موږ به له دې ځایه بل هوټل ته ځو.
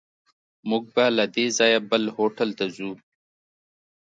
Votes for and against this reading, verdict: 2, 0, accepted